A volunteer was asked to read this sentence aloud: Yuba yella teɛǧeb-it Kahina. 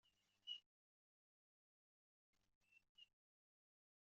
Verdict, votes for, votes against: rejected, 1, 2